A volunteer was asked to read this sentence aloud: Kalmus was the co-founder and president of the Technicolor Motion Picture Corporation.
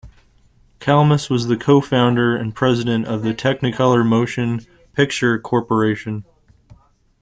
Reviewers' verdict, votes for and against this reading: accepted, 2, 0